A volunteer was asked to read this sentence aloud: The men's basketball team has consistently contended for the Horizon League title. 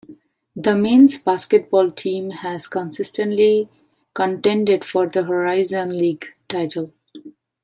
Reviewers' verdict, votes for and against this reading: accepted, 2, 0